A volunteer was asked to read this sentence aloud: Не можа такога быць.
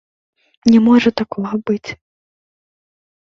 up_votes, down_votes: 2, 0